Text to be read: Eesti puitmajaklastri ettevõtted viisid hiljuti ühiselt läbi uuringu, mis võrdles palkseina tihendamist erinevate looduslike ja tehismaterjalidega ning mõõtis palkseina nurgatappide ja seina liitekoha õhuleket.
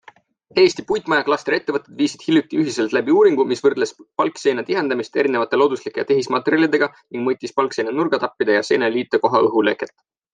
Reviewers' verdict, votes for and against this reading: accepted, 3, 0